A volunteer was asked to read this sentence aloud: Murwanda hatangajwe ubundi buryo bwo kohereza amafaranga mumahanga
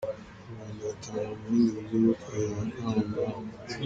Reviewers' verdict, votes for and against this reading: rejected, 0, 2